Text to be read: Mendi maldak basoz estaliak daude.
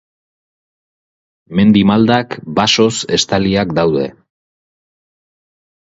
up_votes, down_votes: 4, 0